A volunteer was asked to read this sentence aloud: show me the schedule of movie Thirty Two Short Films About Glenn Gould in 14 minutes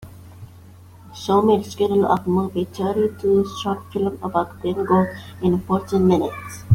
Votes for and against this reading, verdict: 0, 2, rejected